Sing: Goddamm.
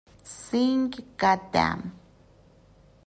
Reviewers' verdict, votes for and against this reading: accepted, 2, 0